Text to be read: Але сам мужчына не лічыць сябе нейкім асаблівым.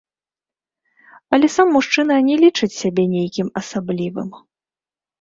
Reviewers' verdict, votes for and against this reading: rejected, 0, 2